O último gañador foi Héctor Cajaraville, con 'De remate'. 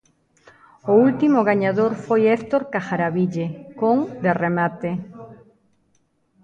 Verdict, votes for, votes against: accepted, 2, 0